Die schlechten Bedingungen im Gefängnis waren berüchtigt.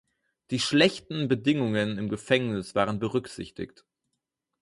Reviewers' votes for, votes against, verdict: 0, 4, rejected